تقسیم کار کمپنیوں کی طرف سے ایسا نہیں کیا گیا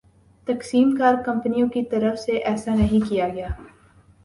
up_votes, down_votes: 2, 0